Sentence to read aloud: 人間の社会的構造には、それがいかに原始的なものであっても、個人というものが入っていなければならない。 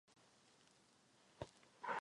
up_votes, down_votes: 0, 2